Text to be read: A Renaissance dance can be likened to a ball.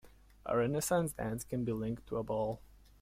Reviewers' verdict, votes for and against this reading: rejected, 1, 2